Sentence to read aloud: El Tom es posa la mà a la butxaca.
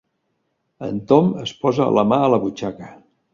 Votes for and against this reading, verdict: 0, 2, rejected